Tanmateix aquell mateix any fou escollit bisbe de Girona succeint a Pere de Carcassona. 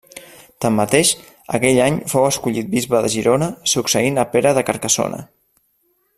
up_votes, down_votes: 0, 2